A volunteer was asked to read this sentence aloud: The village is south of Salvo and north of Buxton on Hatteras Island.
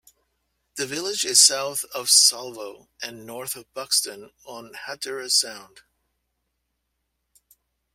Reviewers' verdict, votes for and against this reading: rejected, 0, 2